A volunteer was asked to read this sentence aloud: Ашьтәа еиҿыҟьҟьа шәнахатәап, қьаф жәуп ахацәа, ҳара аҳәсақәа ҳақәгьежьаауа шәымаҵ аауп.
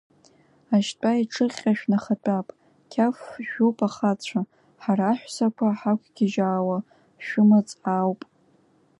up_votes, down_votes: 2, 1